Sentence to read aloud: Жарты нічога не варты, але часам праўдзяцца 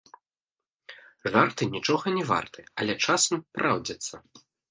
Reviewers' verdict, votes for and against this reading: rejected, 1, 2